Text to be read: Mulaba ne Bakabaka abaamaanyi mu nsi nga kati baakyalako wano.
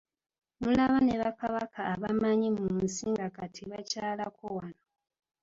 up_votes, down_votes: 1, 2